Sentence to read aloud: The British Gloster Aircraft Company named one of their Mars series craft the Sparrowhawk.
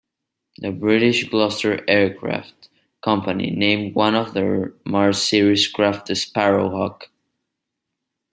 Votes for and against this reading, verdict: 2, 1, accepted